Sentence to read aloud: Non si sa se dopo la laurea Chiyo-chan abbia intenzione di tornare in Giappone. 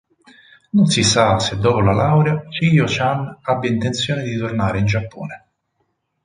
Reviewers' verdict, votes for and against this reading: accepted, 4, 0